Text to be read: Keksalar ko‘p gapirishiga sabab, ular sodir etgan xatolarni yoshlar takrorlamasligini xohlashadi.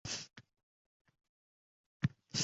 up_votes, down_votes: 0, 2